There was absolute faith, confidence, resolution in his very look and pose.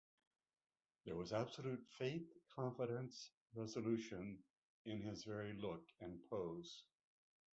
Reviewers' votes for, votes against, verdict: 0, 2, rejected